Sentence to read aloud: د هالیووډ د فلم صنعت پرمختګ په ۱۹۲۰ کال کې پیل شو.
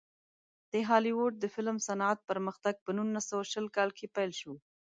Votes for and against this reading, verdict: 0, 2, rejected